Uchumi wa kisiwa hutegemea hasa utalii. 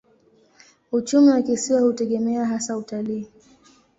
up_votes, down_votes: 2, 0